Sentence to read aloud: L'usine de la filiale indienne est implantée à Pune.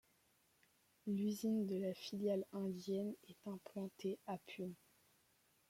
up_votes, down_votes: 2, 0